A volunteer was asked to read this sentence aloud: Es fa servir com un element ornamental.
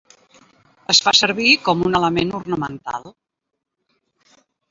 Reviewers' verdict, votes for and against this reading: accepted, 2, 0